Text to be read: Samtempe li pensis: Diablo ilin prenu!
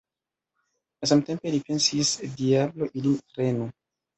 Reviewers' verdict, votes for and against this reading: accepted, 2, 1